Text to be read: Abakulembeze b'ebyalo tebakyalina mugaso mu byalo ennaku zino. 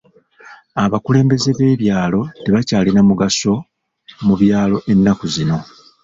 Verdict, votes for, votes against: rejected, 1, 2